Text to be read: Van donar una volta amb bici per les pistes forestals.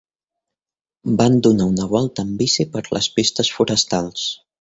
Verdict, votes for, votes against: accepted, 2, 0